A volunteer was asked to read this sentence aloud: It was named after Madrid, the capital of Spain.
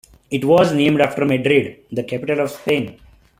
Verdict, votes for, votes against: accepted, 2, 0